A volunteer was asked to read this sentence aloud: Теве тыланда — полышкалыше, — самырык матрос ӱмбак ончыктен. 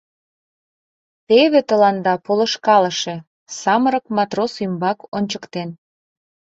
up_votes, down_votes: 3, 0